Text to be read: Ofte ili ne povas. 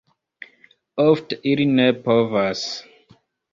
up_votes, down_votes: 1, 2